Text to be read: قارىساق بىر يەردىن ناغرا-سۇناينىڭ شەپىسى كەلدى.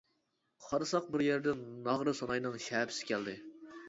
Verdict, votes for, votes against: accepted, 2, 0